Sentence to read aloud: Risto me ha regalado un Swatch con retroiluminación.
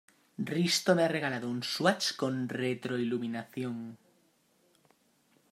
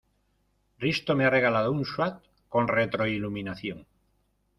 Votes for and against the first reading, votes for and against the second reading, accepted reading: 2, 0, 1, 2, first